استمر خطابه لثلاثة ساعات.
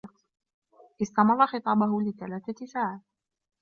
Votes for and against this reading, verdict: 1, 2, rejected